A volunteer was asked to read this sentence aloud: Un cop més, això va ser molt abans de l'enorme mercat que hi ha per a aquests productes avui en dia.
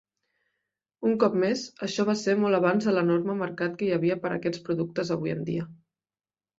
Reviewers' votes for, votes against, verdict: 0, 2, rejected